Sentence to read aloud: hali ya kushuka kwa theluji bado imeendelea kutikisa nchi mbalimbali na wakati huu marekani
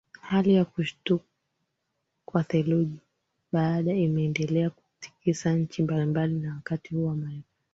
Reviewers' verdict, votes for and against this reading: rejected, 2, 4